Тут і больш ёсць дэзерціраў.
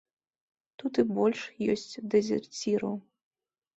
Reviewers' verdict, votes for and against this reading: accepted, 2, 0